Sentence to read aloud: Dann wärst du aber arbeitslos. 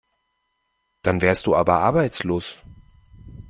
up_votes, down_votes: 2, 0